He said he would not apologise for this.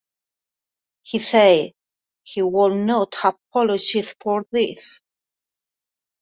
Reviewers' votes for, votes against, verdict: 2, 0, accepted